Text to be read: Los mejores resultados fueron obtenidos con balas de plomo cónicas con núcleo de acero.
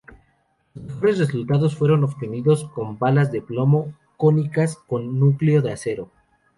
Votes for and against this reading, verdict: 2, 2, rejected